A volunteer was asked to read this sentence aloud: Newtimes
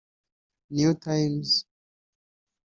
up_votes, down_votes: 2, 3